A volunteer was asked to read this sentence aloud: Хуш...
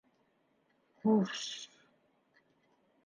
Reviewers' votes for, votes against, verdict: 3, 2, accepted